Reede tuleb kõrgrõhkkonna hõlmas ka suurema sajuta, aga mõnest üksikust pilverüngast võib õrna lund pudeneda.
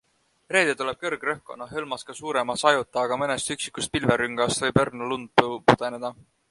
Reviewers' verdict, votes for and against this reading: accepted, 2, 0